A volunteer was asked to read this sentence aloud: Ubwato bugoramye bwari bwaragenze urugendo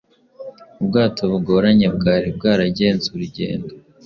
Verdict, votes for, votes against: rejected, 1, 2